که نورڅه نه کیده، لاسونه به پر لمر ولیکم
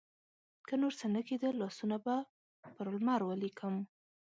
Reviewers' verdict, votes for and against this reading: rejected, 1, 2